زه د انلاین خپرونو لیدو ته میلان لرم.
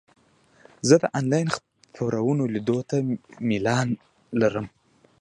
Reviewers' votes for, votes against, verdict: 1, 2, rejected